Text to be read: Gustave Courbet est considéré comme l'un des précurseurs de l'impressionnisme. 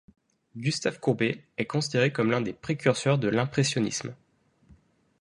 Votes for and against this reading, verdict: 0, 2, rejected